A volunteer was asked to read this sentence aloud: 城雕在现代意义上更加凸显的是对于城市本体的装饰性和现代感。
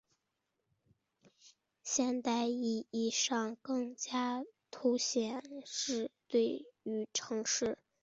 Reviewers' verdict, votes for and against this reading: rejected, 0, 3